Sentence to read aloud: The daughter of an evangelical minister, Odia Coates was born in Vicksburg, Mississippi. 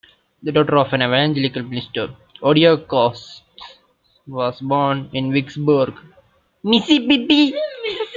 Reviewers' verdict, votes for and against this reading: rejected, 1, 2